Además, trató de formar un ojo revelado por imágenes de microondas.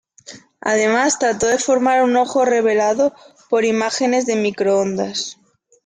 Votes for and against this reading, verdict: 2, 0, accepted